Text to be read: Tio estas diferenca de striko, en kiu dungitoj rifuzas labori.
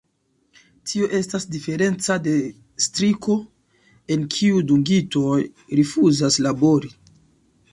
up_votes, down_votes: 1, 2